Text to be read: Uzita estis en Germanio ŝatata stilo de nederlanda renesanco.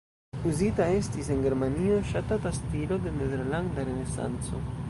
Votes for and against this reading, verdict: 1, 2, rejected